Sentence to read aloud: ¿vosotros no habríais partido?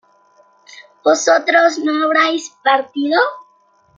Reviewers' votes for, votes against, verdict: 1, 2, rejected